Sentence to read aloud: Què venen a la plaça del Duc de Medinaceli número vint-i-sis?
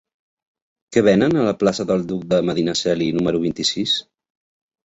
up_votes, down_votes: 2, 0